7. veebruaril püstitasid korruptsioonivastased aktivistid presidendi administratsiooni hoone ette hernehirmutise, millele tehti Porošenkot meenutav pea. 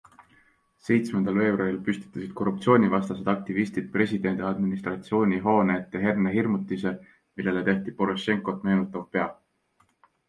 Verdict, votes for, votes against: rejected, 0, 2